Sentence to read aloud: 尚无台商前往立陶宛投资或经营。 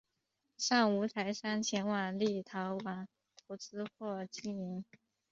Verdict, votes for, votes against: rejected, 0, 2